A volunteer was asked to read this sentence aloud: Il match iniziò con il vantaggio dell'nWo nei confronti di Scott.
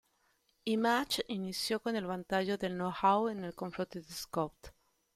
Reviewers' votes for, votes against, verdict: 0, 2, rejected